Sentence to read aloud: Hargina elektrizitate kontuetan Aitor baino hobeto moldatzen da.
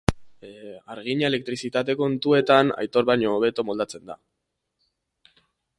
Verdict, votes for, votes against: accepted, 2, 1